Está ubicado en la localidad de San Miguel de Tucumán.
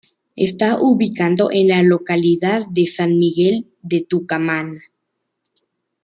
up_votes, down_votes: 1, 2